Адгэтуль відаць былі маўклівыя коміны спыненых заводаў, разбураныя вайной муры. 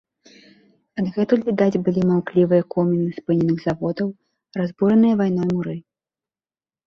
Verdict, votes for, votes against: rejected, 1, 2